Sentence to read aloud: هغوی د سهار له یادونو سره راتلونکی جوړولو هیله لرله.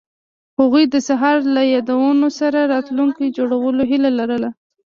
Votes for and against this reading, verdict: 2, 0, accepted